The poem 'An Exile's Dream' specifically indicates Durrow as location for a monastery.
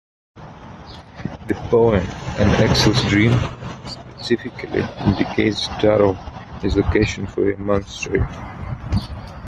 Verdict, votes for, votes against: rejected, 1, 2